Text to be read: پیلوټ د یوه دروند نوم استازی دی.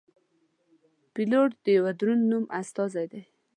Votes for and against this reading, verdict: 2, 0, accepted